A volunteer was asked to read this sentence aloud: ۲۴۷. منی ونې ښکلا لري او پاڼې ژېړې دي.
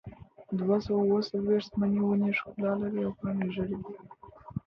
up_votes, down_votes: 0, 2